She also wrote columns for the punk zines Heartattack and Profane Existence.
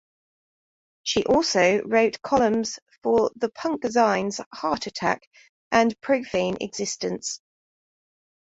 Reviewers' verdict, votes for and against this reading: accepted, 2, 0